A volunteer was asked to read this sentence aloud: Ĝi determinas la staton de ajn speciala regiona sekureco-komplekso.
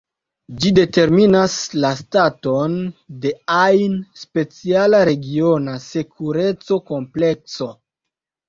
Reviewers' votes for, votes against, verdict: 2, 0, accepted